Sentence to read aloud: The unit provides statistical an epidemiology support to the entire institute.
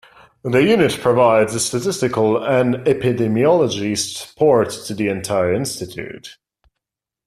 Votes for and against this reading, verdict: 1, 2, rejected